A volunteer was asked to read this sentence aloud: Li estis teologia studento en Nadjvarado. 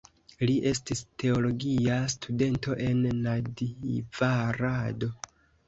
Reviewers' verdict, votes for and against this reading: accepted, 2, 0